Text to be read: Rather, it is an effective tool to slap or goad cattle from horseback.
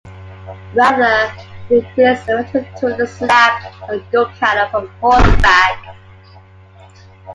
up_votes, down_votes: 1, 2